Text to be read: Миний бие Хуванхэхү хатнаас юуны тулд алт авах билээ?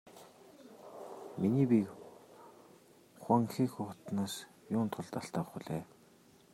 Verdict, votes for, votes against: rejected, 1, 2